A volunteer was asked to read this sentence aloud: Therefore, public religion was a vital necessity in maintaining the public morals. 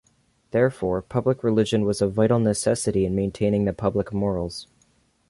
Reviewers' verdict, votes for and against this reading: accepted, 2, 0